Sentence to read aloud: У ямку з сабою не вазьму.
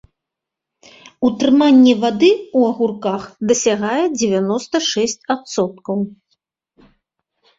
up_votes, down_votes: 1, 2